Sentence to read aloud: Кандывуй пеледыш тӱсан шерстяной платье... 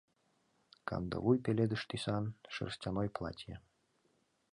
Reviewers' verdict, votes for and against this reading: accepted, 2, 0